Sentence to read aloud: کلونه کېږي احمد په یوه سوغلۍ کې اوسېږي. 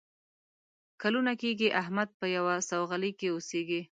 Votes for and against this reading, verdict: 2, 0, accepted